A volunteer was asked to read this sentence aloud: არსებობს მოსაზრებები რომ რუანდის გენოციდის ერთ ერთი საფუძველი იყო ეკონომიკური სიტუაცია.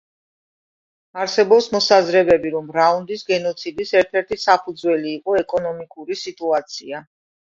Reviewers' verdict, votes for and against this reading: rejected, 0, 2